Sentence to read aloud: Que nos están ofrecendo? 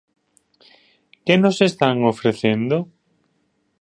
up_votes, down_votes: 3, 0